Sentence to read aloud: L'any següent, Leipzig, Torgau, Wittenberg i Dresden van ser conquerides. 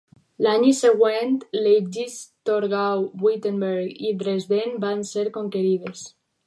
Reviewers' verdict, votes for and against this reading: rejected, 2, 4